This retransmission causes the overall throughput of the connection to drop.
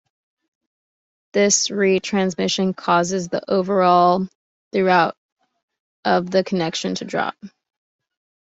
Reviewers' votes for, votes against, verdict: 1, 3, rejected